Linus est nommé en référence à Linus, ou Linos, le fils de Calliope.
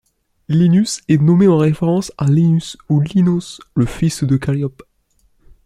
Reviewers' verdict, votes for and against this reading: accepted, 2, 0